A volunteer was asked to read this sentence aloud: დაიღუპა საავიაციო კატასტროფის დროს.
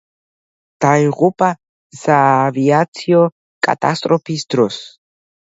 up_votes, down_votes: 1, 2